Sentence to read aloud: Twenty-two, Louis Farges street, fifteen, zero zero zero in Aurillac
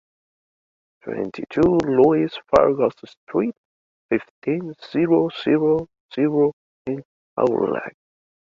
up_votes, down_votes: 2, 1